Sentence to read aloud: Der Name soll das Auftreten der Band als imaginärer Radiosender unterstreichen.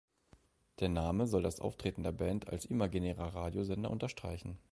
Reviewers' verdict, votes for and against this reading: accepted, 2, 0